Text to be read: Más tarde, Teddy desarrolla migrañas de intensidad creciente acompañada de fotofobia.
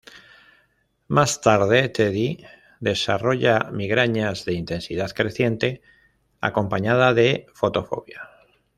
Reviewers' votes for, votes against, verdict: 2, 0, accepted